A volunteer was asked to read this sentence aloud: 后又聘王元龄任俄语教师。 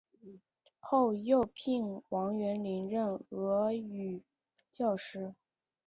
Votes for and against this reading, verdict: 2, 0, accepted